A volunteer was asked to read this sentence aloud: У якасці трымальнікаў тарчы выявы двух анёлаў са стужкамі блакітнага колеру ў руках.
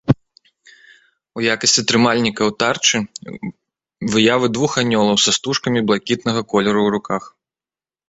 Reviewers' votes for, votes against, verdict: 1, 2, rejected